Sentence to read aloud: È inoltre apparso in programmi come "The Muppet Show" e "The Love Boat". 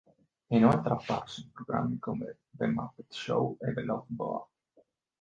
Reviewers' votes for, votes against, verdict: 2, 0, accepted